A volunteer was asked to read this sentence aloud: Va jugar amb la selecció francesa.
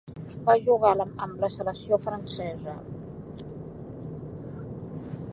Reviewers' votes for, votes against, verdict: 0, 2, rejected